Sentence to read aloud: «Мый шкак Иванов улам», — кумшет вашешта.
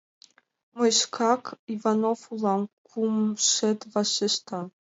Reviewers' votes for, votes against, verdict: 2, 0, accepted